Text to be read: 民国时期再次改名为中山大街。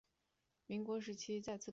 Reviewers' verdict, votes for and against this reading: rejected, 1, 5